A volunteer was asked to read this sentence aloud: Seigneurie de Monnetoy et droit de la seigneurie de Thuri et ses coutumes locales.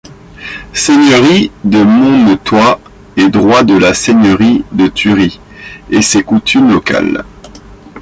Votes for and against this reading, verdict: 0, 2, rejected